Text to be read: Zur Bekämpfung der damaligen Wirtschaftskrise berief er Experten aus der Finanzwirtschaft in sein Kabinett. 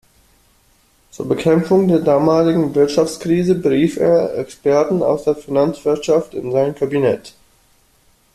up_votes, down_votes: 2, 0